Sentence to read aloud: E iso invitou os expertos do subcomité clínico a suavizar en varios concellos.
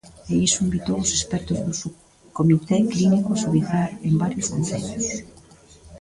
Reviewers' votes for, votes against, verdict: 0, 2, rejected